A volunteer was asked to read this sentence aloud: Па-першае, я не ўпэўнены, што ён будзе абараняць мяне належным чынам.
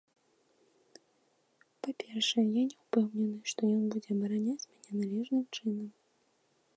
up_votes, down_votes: 1, 2